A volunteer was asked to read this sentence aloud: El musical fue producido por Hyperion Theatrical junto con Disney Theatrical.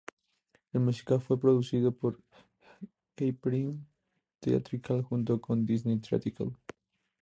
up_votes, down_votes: 2, 0